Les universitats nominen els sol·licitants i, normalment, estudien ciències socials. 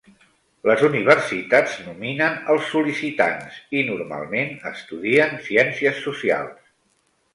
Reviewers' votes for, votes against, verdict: 3, 0, accepted